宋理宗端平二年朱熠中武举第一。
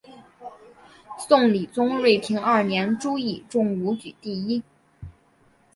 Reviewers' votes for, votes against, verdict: 6, 2, accepted